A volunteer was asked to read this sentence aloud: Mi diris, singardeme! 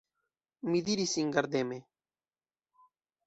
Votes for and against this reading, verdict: 2, 1, accepted